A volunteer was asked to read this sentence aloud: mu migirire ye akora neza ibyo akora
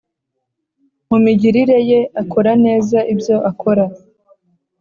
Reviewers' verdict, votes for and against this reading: accepted, 2, 0